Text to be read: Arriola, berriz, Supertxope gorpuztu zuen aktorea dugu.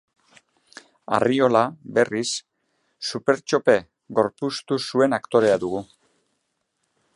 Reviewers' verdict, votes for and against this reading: accepted, 3, 0